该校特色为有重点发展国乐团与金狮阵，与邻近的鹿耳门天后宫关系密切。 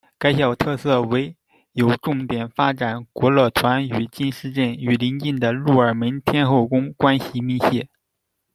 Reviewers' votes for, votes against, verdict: 0, 2, rejected